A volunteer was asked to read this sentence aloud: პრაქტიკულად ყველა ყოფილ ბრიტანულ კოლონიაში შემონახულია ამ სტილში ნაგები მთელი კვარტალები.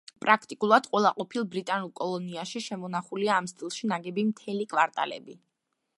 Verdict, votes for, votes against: accepted, 2, 1